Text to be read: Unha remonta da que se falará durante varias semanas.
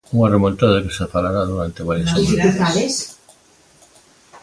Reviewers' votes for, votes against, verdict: 0, 3, rejected